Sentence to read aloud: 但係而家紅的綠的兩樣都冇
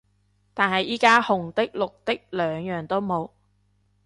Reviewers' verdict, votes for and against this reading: rejected, 1, 2